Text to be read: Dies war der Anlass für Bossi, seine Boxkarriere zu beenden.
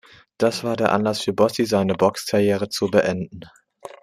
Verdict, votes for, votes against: rejected, 1, 2